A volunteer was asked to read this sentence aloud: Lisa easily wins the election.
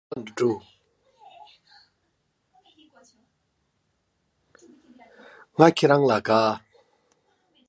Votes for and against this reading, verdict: 0, 2, rejected